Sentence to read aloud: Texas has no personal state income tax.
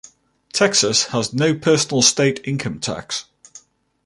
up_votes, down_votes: 2, 0